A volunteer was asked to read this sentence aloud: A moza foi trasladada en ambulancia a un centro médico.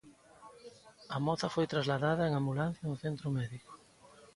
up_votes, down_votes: 3, 0